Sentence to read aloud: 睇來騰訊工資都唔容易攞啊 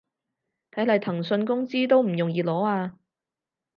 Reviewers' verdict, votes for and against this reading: accepted, 4, 0